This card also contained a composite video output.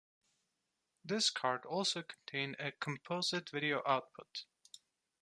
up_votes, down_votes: 2, 0